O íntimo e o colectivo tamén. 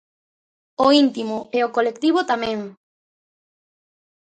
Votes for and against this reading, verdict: 2, 0, accepted